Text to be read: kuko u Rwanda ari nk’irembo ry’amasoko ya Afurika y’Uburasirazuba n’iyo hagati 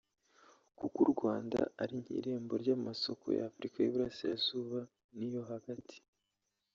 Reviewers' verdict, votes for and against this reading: rejected, 1, 2